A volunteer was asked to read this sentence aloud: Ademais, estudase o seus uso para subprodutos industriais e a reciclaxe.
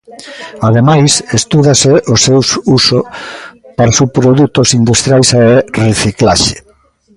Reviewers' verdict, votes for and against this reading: rejected, 0, 2